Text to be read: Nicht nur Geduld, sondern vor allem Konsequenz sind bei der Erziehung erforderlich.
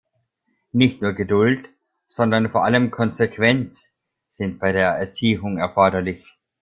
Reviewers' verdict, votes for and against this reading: accepted, 2, 1